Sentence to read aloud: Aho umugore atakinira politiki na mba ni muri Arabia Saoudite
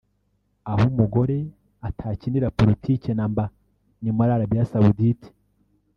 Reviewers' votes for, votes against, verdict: 1, 2, rejected